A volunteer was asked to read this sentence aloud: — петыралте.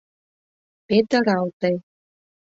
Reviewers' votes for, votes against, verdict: 2, 0, accepted